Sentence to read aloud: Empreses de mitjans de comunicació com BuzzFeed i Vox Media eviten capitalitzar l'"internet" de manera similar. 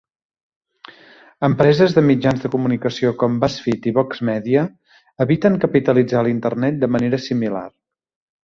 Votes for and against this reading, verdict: 2, 0, accepted